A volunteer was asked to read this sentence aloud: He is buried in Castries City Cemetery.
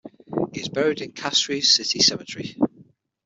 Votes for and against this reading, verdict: 6, 0, accepted